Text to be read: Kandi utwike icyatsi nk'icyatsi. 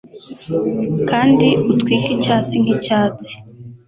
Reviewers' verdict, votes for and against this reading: accepted, 2, 0